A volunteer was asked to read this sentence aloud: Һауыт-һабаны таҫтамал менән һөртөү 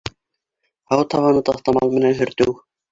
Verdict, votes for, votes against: rejected, 0, 2